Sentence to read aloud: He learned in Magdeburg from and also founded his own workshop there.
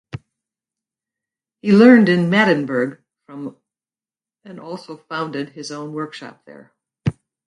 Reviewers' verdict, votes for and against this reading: rejected, 2, 4